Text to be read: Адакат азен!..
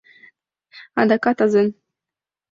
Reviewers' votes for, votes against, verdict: 2, 0, accepted